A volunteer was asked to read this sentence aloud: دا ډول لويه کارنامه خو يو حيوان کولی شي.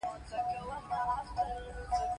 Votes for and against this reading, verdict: 2, 0, accepted